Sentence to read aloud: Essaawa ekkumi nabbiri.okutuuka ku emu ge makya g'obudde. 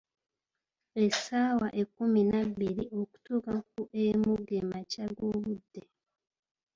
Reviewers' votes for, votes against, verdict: 2, 0, accepted